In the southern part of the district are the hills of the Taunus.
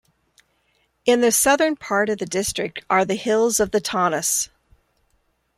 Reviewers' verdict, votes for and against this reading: accepted, 2, 0